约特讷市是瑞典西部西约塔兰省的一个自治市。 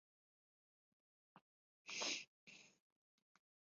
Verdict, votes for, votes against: rejected, 0, 2